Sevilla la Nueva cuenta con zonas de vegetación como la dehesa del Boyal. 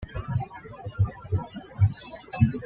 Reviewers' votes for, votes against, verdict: 1, 2, rejected